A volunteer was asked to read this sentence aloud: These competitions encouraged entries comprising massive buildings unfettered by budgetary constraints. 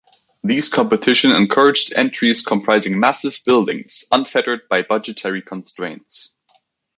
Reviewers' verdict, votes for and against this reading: accepted, 2, 1